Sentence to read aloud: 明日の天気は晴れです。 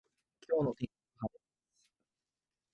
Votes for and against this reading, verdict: 0, 2, rejected